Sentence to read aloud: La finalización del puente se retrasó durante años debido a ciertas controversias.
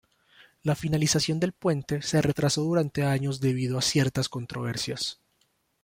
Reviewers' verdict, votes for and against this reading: accepted, 2, 0